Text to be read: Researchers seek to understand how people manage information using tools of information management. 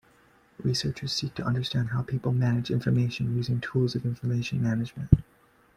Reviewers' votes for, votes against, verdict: 2, 0, accepted